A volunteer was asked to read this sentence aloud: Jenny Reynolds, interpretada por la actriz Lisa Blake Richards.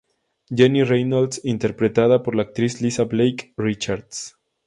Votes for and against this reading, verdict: 2, 0, accepted